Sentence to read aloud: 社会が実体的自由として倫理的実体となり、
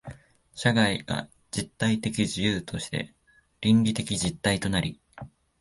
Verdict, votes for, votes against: accepted, 2, 0